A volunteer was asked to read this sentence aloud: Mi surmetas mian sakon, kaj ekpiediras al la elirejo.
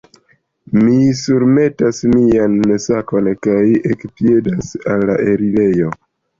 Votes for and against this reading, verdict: 0, 2, rejected